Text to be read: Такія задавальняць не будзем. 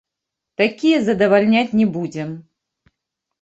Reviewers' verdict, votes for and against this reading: rejected, 1, 2